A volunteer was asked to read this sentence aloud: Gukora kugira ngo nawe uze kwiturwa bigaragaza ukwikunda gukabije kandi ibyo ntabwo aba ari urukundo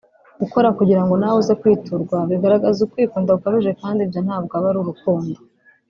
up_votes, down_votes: 2, 0